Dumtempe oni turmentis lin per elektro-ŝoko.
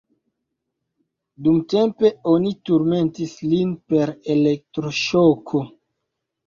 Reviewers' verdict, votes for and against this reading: rejected, 1, 2